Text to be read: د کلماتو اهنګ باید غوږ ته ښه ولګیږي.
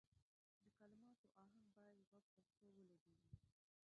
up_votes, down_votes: 0, 2